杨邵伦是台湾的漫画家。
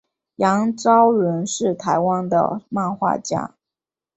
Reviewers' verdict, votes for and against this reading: accepted, 2, 0